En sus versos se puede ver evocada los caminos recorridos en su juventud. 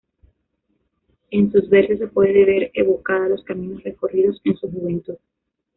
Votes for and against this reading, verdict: 1, 2, rejected